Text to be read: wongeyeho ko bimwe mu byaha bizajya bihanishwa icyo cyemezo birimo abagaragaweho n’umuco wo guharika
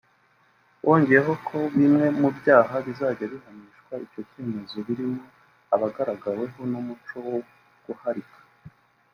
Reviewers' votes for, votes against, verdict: 1, 2, rejected